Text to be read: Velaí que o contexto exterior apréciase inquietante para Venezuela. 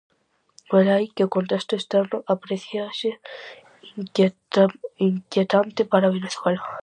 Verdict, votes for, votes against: rejected, 0, 2